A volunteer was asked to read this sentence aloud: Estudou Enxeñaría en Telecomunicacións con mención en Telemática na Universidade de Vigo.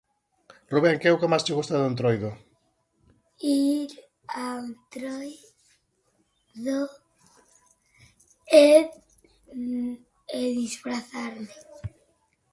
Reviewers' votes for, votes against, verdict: 0, 2, rejected